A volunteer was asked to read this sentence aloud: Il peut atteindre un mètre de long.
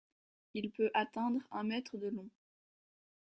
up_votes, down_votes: 2, 0